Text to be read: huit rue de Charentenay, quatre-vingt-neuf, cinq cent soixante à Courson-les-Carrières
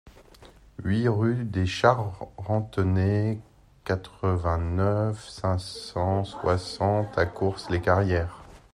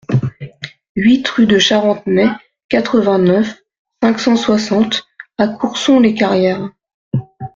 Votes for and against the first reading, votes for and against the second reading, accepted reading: 1, 2, 2, 0, second